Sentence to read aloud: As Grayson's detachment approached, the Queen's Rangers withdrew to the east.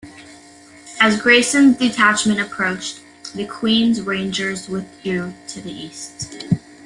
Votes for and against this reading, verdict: 2, 0, accepted